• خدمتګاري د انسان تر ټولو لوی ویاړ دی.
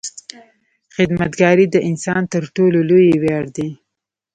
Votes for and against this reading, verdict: 2, 1, accepted